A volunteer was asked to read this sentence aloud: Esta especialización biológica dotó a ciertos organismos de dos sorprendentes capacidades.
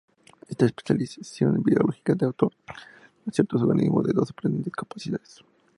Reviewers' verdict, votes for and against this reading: accepted, 2, 0